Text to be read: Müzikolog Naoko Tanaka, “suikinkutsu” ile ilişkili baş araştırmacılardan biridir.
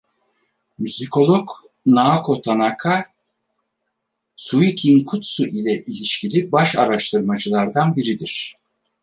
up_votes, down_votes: 4, 0